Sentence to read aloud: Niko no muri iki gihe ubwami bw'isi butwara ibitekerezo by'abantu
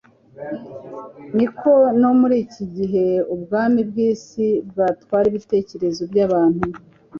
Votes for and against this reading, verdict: 0, 2, rejected